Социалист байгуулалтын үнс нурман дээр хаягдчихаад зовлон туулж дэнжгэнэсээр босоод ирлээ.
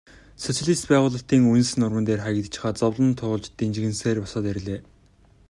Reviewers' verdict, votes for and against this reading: accepted, 2, 0